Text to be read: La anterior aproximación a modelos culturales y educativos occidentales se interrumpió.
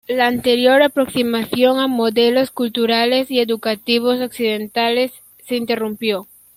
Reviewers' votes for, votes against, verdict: 2, 0, accepted